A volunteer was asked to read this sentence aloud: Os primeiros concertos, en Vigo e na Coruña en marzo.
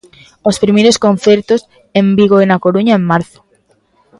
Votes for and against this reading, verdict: 2, 0, accepted